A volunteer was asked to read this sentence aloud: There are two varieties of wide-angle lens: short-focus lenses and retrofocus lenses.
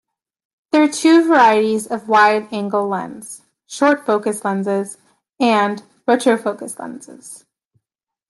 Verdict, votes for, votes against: rejected, 1, 2